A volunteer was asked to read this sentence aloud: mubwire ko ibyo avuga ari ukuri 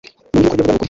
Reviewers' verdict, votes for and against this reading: accepted, 2, 1